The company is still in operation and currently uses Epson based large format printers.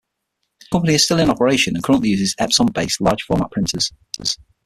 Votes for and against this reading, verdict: 0, 6, rejected